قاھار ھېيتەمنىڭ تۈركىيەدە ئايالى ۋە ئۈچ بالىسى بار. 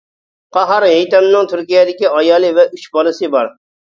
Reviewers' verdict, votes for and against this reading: rejected, 0, 2